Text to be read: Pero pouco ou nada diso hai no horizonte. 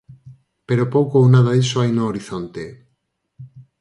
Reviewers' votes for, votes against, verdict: 4, 0, accepted